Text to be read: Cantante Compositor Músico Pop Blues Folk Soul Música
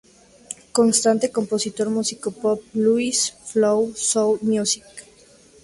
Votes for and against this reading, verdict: 0, 2, rejected